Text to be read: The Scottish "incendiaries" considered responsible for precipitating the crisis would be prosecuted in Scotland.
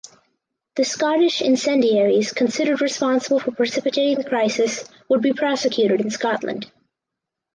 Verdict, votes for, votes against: accepted, 6, 0